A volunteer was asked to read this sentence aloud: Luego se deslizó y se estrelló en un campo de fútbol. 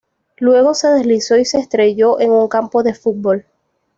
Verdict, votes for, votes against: accepted, 2, 1